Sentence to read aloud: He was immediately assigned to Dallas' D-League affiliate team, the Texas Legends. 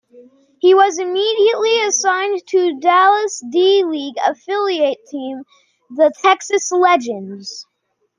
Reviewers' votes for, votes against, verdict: 2, 0, accepted